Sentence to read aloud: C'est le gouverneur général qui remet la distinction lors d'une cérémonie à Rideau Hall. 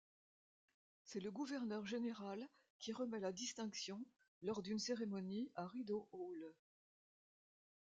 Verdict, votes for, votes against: rejected, 1, 2